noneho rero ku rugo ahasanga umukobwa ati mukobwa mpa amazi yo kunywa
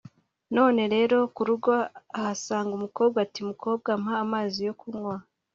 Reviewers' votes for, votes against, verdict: 2, 1, accepted